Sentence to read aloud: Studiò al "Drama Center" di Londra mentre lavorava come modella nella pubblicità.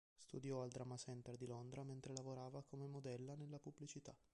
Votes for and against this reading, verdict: 2, 0, accepted